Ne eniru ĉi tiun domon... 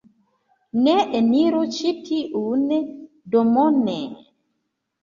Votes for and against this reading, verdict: 1, 2, rejected